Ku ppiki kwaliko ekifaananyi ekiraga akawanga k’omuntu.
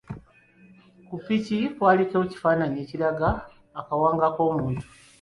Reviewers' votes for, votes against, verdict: 1, 2, rejected